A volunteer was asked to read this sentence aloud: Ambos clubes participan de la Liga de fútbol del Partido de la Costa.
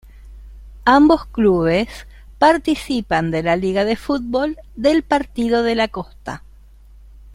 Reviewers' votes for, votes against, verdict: 0, 2, rejected